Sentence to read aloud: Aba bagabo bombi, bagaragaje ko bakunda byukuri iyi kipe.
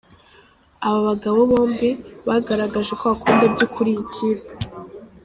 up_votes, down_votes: 2, 0